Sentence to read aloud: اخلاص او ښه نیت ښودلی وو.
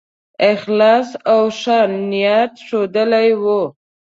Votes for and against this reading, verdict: 2, 0, accepted